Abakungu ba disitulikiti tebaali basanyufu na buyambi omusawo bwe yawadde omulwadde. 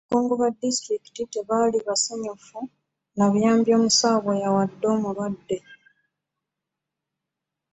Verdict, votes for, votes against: rejected, 1, 2